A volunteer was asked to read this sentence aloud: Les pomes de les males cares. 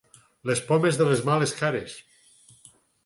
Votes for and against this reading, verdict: 4, 0, accepted